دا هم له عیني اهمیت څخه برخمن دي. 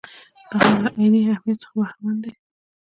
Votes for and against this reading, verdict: 1, 2, rejected